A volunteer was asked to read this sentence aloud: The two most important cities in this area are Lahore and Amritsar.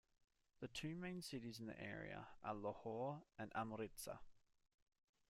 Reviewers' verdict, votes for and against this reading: rejected, 0, 2